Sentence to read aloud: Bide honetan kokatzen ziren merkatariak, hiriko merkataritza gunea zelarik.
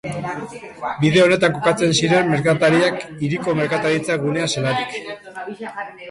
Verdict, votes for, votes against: accepted, 2, 0